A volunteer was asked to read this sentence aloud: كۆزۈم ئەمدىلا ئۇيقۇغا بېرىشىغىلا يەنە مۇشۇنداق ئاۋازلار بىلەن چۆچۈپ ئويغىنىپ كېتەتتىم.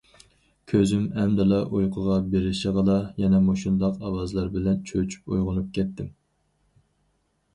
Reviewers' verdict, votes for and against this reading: rejected, 0, 2